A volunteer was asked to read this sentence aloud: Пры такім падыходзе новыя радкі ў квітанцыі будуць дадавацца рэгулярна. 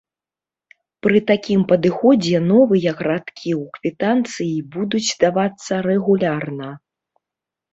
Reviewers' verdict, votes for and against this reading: rejected, 0, 2